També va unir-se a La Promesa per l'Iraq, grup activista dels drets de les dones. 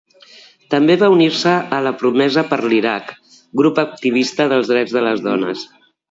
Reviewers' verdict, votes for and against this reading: accepted, 2, 0